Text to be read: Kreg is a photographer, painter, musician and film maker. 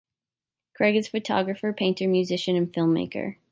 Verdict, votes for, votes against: rejected, 0, 2